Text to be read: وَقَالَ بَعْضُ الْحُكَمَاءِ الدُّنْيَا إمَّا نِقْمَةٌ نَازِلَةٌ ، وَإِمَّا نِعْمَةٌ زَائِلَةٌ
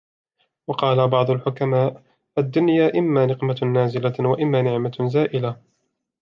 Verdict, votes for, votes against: accepted, 2, 0